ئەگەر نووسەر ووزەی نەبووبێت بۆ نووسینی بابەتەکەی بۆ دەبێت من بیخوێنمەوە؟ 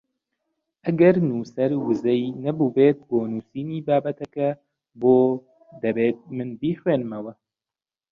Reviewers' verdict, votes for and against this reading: rejected, 0, 2